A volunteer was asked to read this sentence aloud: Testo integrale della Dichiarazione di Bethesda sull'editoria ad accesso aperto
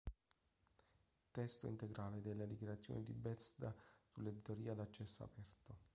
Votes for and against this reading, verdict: 0, 2, rejected